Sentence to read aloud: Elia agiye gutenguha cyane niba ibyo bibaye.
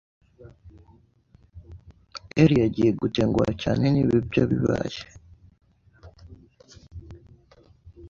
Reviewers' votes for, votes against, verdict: 2, 0, accepted